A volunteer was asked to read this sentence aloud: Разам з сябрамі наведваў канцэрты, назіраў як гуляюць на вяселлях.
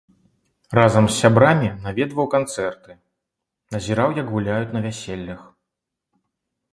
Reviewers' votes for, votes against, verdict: 2, 0, accepted